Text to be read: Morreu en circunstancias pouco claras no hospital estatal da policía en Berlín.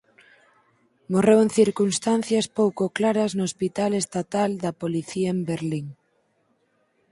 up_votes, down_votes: 4, 0